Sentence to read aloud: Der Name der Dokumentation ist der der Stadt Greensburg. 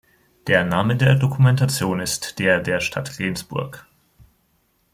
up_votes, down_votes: 1, 2